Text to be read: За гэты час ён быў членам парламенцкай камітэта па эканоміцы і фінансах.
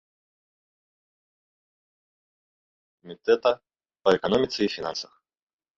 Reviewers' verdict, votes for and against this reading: rejected, 0, 2